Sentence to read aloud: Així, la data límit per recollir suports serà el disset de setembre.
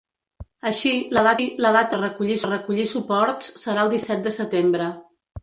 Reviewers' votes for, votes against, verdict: 0, 2, rejected